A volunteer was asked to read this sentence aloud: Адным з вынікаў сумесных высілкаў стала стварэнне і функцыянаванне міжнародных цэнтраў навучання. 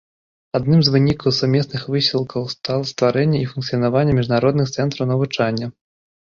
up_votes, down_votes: 1, 2